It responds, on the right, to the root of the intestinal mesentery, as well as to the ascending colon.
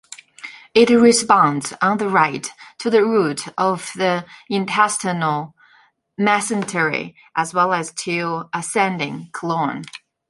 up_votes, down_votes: 0, 2